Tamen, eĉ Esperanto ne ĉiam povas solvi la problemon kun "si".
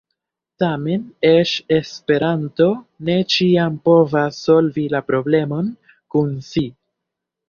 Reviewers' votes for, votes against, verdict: 1, 2, rejected